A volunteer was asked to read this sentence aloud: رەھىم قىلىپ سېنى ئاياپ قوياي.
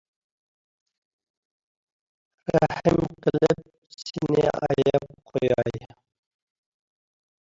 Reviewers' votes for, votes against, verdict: 1, 2, rejected